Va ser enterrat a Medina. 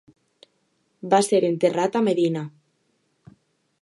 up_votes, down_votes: 2, 0